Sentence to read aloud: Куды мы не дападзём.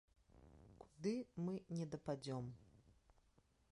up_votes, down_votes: 1, 2